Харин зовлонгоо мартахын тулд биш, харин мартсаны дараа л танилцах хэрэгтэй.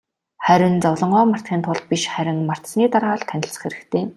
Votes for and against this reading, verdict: 2, 0, accepted